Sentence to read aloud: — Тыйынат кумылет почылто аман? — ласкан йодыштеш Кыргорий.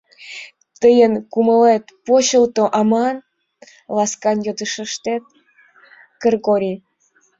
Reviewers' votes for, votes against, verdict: 1, 3, rejected